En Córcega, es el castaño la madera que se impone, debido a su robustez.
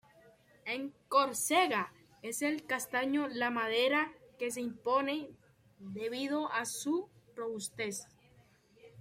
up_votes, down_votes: 2, 1